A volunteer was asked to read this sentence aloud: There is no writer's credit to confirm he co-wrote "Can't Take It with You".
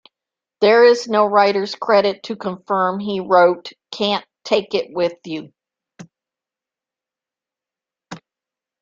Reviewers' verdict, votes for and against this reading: accepted, 2, 0